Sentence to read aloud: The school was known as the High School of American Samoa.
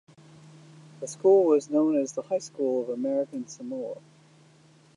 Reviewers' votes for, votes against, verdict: 1, 2, rejected